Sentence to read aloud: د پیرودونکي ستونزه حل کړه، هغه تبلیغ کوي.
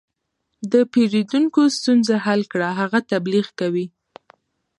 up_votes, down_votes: 2, 0